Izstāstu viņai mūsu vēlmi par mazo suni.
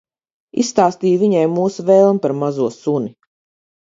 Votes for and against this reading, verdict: 0, 4, rejected